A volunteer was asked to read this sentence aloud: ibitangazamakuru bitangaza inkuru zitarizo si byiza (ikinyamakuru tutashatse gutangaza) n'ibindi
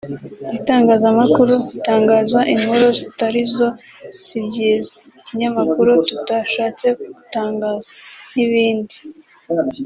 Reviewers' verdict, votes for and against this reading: accepted, 2, 0